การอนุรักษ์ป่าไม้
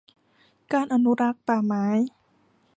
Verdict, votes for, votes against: accepted, 2, 0